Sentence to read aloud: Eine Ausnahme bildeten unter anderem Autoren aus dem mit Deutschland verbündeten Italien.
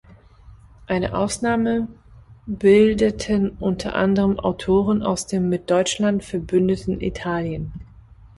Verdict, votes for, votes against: accepted, 2, 0